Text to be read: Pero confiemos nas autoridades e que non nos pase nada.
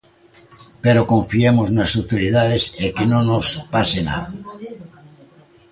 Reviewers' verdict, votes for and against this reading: rejected, 0, 2